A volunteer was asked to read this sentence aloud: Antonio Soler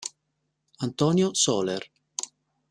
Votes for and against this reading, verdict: 1, 2, rejected